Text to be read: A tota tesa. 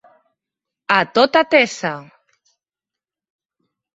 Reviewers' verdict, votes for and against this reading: accepted, 3, 0